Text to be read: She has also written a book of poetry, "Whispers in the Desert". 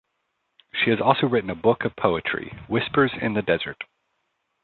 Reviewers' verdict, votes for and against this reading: accepted, 3, 0